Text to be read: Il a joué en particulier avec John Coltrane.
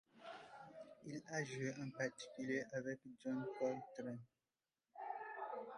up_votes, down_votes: 0, 2